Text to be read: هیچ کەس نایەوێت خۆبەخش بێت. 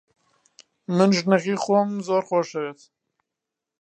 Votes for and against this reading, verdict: 1, 2, rejected